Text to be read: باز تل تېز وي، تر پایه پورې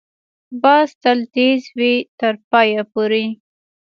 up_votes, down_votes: 1, 2